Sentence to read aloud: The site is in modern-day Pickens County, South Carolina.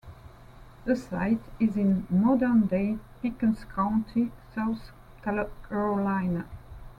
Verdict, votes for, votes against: rejected, 0, 2